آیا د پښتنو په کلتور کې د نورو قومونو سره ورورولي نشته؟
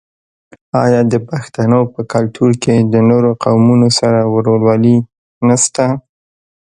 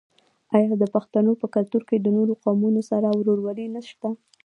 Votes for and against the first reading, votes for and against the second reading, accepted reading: 2, 1, 0, 2, first